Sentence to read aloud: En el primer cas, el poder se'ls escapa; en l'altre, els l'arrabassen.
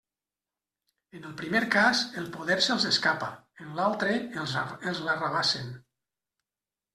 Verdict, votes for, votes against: rejected, 0, 2